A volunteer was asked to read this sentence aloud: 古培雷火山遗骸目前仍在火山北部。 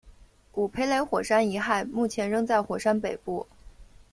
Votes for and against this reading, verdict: 2, 1, accepted